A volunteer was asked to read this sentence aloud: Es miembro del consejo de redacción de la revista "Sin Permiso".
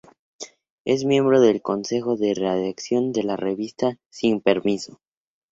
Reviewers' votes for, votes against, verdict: 2, 2, rejected